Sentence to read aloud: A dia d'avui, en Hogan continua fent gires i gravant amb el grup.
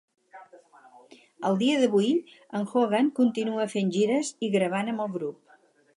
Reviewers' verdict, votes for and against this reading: rejected, 0, 4